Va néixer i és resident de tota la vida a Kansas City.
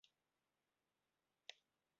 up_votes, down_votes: 0, 2